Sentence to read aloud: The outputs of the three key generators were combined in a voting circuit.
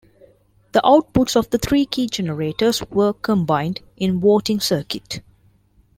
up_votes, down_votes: 0, 2